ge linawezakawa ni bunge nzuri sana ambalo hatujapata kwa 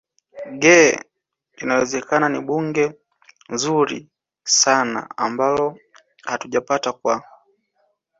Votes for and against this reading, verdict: 1, 2, rejected